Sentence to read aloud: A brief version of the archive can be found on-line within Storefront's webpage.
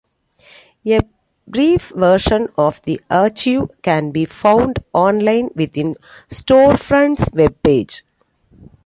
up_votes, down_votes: 0, 2